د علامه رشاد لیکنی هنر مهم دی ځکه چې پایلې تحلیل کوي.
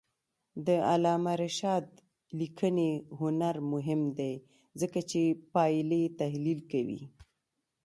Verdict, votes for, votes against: accepted, 2, 0